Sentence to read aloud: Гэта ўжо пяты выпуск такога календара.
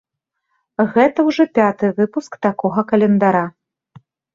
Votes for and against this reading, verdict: 2, 0, accepted